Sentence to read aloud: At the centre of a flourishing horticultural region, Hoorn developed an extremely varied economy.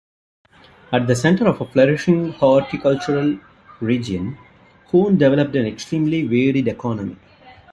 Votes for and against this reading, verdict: 0, 2, rejected